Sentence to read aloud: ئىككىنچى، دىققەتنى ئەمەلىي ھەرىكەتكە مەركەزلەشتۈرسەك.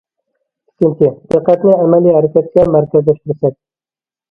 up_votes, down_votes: 0, 2